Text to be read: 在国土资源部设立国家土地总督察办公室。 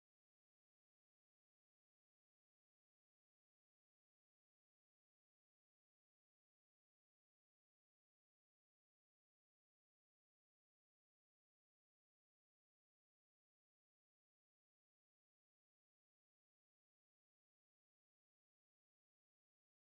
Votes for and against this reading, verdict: 1, 3, rejected